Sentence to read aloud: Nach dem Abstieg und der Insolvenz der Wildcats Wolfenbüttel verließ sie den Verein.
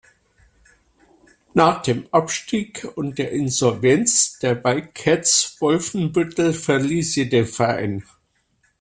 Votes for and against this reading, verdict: 2, 0, accepted